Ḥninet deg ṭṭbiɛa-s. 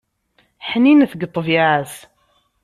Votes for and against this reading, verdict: 2, 0, accepted